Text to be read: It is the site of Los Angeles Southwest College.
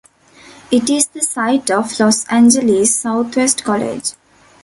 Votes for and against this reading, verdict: 2, 0, accepted